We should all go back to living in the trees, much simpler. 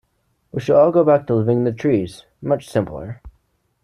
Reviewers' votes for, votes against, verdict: 1, 2, rejected